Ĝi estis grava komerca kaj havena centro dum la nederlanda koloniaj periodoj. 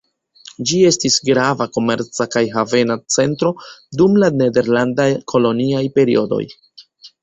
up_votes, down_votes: 2, 0